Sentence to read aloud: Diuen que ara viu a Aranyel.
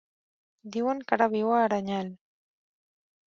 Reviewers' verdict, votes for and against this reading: accepted, 4, 0